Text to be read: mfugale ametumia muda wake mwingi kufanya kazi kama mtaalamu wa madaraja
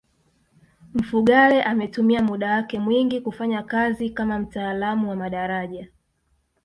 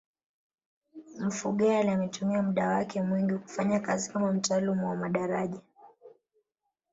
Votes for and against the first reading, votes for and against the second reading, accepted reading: 2, 0, 1, 2, first